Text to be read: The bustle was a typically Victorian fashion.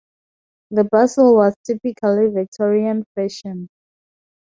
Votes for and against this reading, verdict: 0, 2, rejected